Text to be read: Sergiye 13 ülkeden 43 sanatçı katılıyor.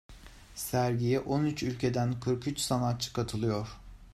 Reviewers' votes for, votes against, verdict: 0, 2, rejected